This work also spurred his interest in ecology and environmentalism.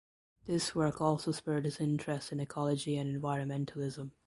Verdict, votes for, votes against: accepted, 2, 1